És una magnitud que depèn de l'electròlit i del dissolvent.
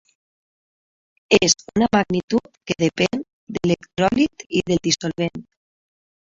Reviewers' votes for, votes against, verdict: 0, 3, rejected